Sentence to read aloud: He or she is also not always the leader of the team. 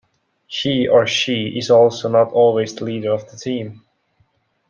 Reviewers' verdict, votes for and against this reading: rejected, 0, 2